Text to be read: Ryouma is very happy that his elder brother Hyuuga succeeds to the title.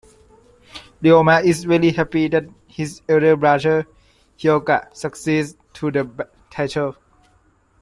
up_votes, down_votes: 2, 0